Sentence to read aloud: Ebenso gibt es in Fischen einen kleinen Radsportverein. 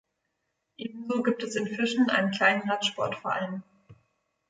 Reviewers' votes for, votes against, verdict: 2, 0, accepted